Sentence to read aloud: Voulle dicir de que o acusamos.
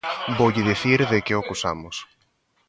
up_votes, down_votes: 1, 2